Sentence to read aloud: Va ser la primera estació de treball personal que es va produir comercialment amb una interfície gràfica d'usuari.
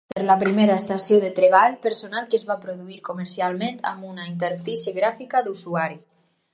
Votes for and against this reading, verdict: 2, 4, rejected